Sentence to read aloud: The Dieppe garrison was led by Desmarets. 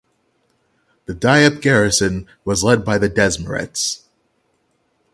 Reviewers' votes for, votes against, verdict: 0, 6, rejected